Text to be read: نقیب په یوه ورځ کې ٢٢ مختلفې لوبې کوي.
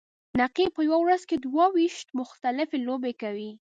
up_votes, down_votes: 0, 2